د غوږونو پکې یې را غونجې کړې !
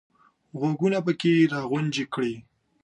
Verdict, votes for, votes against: accepted, 2, 0